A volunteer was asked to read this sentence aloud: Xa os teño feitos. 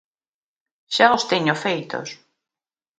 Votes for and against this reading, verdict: 2, 0, accepted